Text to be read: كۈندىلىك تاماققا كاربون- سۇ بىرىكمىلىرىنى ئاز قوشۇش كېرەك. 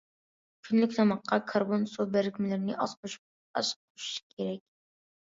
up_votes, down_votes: 0, 2